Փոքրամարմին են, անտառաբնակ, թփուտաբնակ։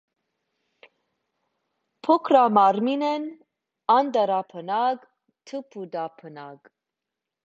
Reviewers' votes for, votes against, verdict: 2, 0, accepted